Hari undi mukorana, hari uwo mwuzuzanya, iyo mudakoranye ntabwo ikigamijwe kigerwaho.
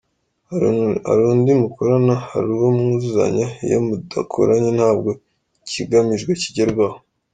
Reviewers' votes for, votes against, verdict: 0, 4, rejected